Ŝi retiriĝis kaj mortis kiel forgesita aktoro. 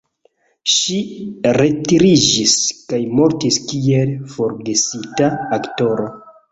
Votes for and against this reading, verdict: 2, 0, accepted